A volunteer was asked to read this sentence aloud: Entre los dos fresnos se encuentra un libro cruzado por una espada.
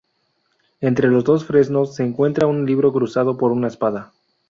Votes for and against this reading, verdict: 2, 2, rejected